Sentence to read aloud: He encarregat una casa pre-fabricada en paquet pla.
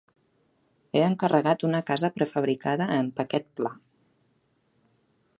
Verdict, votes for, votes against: accepted, 2, 0